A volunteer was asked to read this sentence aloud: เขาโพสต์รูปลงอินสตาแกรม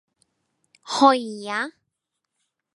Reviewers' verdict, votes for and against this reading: rejected, 1, 2